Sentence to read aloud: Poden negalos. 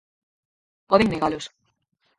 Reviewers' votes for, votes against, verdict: 2, 4, rejected